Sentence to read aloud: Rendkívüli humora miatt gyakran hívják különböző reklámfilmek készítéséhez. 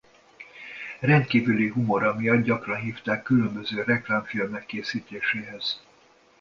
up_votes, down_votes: 0, 2